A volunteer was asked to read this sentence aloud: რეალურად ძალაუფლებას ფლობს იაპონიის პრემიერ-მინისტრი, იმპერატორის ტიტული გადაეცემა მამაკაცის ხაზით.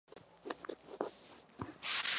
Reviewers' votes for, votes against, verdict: 0, 2, rejected